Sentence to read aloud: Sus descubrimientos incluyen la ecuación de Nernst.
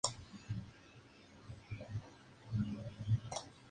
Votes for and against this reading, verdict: 0, 2, rejected